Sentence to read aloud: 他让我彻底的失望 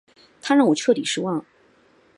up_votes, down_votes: 1, 2